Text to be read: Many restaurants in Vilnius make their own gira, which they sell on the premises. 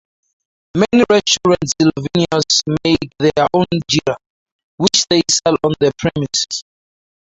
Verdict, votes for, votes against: rejected, 2, 2